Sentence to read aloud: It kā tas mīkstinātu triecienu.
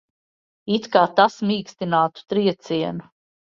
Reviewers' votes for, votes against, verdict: 2, 0, accepted